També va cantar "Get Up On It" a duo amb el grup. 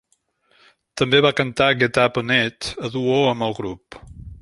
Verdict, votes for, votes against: accepted, 2, 0